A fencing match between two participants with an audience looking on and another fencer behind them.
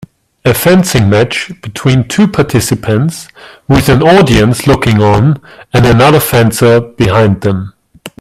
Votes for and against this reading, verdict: 2, 0, accepted